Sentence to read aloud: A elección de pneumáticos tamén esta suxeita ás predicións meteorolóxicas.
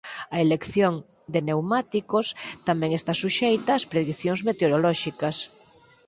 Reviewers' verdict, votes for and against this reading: accepted, 4, 2